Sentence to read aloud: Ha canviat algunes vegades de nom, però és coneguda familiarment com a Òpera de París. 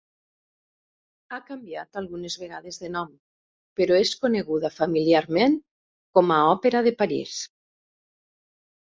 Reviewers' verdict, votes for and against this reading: accepted, 2, 0